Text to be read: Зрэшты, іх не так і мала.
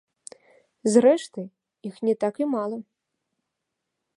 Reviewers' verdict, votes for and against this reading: accepted, 2, 0